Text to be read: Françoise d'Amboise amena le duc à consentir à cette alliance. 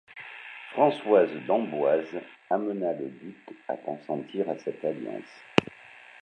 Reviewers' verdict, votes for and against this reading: accepted, 2, 0